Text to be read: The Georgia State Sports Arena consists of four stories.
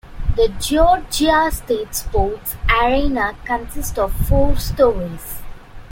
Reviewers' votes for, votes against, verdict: 1, 2, rejected